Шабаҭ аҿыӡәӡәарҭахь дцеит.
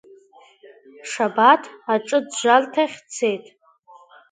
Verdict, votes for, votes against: accepted, 2, 0